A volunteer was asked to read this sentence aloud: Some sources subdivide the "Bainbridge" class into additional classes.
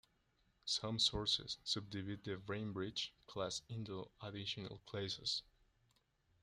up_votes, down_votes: 2, 1